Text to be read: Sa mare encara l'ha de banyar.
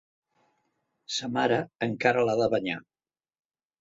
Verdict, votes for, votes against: accepted, 3, 0